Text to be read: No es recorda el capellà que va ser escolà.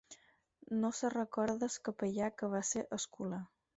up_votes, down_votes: 2, 4